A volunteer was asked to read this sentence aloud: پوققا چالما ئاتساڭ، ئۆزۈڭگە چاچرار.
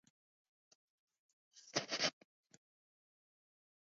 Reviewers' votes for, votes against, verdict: 0, 2, rejected